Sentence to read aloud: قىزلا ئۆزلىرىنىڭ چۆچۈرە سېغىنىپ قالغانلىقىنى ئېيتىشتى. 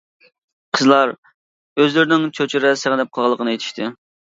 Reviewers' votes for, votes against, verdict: 1, 2, rejected